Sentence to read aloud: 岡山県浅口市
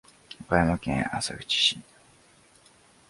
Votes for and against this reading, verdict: 2, 0, accepted